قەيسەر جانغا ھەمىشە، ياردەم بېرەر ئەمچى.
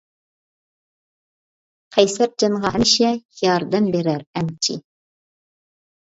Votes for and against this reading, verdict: 2, 3, rejected